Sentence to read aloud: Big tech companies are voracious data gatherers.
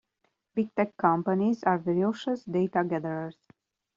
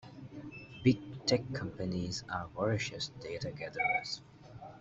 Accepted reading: second